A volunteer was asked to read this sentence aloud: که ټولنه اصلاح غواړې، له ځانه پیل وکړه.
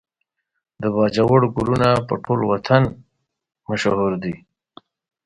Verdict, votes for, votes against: rejected, 0, 2